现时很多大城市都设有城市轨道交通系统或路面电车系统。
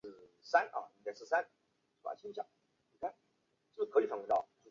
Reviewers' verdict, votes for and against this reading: rejected, 2, 4